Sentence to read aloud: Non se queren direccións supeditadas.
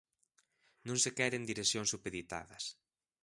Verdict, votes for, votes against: accepted, 2, 0